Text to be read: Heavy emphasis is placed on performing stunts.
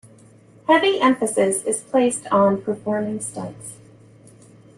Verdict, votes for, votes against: accepted, 2, 1